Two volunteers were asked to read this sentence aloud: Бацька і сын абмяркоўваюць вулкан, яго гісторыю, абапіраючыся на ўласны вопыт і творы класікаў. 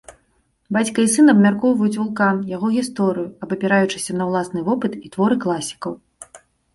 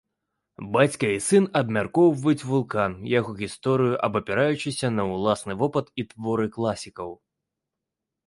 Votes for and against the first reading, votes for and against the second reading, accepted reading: 2, 0, 0, 2, first